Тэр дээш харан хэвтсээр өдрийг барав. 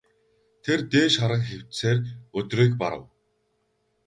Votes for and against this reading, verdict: 2, 0, accepted